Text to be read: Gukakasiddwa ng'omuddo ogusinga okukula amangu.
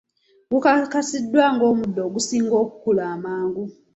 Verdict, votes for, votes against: accepted, 2, 0